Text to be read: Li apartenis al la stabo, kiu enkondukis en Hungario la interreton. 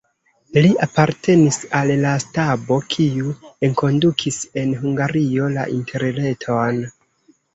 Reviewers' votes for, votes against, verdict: 1, 2, rejected